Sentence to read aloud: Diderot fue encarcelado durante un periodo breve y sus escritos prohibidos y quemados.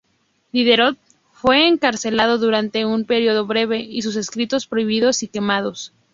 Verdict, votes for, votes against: accepted, 2, 0